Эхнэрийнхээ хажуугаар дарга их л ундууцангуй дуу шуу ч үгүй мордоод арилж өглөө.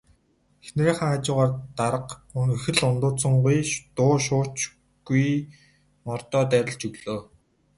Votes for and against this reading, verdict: 2, 2, rejected